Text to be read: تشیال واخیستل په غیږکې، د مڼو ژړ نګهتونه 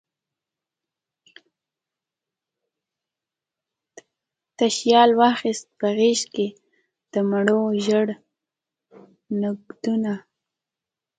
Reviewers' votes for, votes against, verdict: 1, 2, rejected